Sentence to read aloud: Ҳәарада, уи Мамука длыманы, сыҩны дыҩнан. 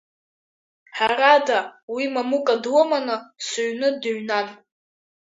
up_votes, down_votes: 0, 2